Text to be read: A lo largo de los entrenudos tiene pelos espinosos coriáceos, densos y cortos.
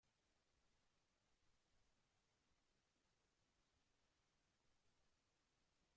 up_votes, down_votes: 0, 2